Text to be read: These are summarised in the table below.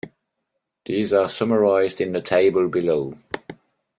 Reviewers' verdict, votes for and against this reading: accepted, 2, 0